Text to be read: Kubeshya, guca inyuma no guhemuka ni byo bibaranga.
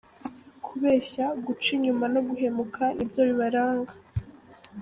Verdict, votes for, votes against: accepted, 3, 1